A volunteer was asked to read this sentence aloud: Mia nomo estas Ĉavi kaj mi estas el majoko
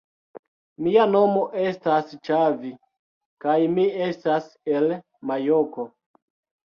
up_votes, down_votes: 2, 0